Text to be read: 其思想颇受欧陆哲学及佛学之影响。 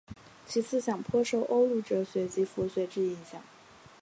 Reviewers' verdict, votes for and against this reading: accepted, 5, 0